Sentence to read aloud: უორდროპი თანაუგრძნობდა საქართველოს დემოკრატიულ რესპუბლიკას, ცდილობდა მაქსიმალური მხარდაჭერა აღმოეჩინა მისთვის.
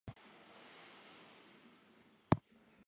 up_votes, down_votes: 0, 2